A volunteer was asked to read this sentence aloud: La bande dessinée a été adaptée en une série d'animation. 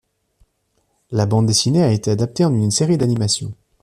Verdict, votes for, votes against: accepted, 2, 0